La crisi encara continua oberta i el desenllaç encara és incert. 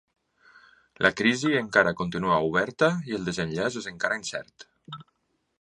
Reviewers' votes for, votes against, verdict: 0, 2, rejected